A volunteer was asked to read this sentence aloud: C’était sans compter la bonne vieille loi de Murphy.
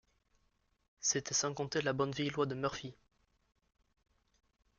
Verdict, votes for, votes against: rejected, 1, 2